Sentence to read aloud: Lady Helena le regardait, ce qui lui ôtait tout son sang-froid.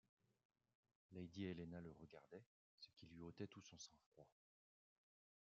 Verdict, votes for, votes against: rejected, 0, 2